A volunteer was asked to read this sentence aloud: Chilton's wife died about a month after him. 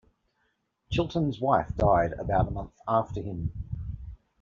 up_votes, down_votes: 2, 1